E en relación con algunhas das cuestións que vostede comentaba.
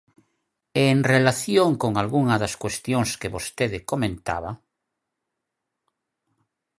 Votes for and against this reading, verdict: 0, 6, rejected